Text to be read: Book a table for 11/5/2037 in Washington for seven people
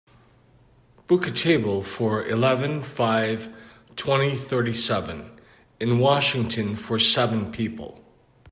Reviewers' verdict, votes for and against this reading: rejected, 0, 2